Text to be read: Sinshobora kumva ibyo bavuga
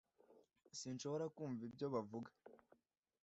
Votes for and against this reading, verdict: 2, 0, accepted